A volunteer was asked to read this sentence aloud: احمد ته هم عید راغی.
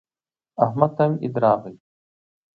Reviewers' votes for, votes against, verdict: 2, 0, accepted